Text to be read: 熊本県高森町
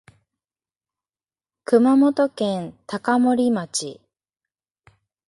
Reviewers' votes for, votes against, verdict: 2, 0, accepted